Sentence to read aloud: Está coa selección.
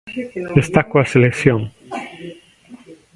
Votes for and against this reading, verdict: 1, 2, rejected